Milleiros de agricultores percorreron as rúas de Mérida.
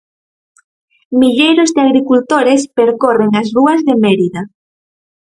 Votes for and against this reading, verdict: 0, 4, rejected